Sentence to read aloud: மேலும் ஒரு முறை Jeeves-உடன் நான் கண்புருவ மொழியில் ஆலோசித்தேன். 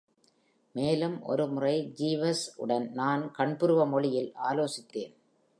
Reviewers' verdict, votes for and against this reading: accepted, 2, 0